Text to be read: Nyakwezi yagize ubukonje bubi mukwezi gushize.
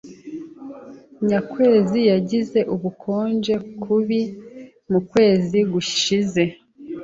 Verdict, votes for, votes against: rejected, 0, 2